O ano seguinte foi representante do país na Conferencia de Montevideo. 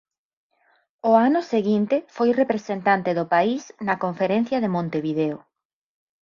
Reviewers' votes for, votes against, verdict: 6, 0, accepted